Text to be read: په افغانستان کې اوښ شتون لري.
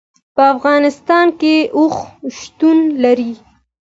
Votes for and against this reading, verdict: 2, 0, accepted